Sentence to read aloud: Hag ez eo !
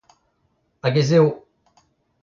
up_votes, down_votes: 2, 1